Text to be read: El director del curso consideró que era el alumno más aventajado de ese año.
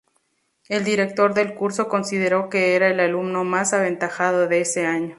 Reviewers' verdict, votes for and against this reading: accepted, 6, 0